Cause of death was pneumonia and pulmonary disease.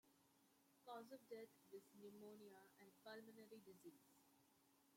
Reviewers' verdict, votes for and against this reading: rejected, 1, 2